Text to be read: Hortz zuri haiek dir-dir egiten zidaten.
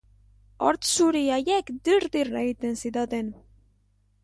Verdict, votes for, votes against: accepted, 3, 0